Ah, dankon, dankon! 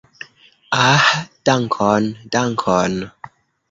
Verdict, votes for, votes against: accepted, 2, 1